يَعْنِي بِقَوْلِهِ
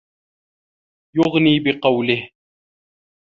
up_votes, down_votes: 0, 2